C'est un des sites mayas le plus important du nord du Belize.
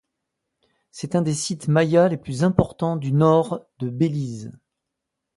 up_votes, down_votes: 2, 1